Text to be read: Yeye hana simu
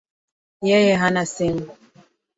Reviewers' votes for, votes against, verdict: 2, 0, accepted